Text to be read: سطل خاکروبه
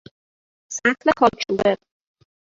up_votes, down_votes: 0, 2